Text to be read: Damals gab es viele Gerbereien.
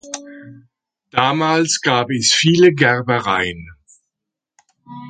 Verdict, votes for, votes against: accepted, 2, 0